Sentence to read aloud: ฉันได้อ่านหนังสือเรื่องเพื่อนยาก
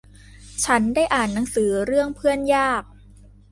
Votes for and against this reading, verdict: 2, 0, accepted